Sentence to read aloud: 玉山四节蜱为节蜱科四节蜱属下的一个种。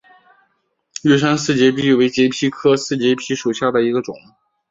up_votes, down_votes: 2, 1